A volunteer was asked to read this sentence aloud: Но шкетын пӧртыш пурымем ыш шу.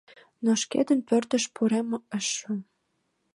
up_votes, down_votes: 0, 2